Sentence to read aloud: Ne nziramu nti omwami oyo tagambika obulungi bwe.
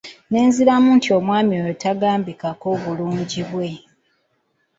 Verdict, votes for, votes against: rejected, 1, 2